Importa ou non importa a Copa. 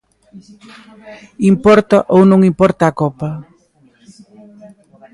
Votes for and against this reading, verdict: 0, 2, rejected